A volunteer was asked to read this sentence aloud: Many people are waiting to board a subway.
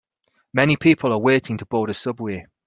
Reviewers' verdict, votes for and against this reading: accepted, 4, 0